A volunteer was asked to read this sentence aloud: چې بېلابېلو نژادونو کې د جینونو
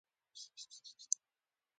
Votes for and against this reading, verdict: 1, 2, rejected